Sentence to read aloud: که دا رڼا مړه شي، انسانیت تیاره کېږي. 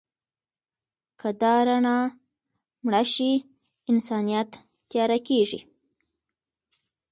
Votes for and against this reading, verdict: 2, 0, accepted